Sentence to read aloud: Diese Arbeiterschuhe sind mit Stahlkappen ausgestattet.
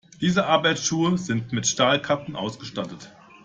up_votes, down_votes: 1, 2